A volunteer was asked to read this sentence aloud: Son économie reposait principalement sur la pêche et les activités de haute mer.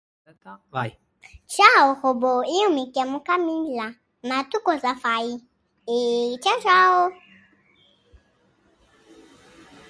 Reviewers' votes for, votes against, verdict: 0, 2, rejected